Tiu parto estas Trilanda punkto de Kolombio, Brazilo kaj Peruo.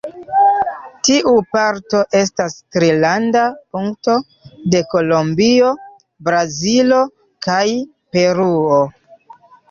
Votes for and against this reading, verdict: 0, 2, rejected